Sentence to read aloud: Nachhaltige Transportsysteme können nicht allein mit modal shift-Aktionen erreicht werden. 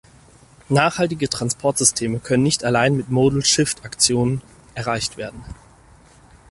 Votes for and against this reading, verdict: 4, 0, accepted